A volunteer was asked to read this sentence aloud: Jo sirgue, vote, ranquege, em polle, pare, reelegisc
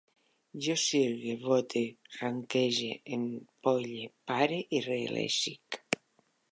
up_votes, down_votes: 1, 2